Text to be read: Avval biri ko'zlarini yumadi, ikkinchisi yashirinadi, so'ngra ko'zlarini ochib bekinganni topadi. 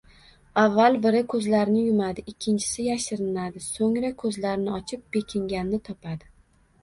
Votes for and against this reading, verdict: 1, 2, rejected